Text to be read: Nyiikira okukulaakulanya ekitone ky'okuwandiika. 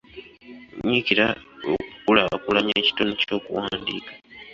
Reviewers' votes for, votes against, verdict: 2, 0, accepted